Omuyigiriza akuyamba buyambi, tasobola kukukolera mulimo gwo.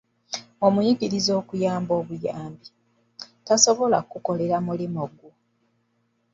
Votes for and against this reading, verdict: 1, 2, rejected